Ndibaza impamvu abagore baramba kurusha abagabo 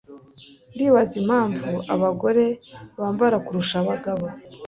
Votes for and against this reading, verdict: 2, 0, accepted